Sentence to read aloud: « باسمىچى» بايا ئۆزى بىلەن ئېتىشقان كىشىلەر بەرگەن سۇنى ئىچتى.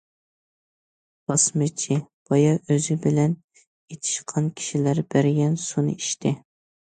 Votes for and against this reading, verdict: 2, 0, accepted